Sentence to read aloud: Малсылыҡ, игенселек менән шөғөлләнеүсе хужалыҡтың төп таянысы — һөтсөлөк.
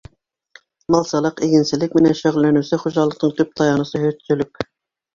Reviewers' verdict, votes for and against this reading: accepted, 2, 1